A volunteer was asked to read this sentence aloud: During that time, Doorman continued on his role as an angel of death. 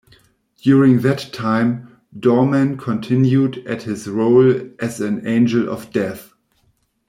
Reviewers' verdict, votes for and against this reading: rejected, 1, 2